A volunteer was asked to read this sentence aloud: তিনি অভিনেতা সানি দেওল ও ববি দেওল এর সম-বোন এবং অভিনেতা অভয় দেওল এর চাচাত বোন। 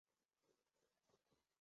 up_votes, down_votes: 0, 4